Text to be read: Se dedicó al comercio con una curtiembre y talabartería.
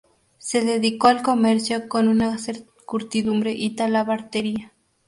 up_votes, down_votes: 0, 2